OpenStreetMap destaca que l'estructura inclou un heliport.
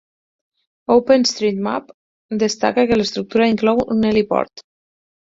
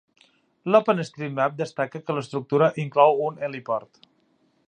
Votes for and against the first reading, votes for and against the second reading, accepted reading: 10, 0, 0, 2, first